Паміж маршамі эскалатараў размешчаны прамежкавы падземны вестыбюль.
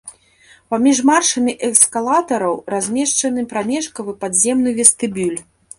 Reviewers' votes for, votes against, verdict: 2, 0, accepted